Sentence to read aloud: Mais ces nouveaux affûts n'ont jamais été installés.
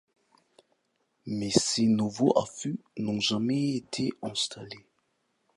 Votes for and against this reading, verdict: 0, 2, rejected